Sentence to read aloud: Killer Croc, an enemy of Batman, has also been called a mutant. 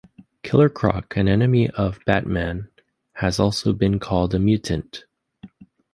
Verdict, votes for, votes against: accepted, 2, 0